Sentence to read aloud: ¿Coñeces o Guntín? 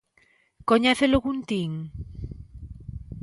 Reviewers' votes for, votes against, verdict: 2, 0, accepted